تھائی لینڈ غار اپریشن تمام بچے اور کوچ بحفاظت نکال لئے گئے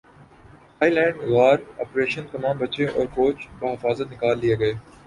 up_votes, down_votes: 2, 3